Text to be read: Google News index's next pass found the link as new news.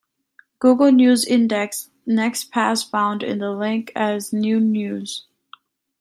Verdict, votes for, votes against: accepted, 2, 1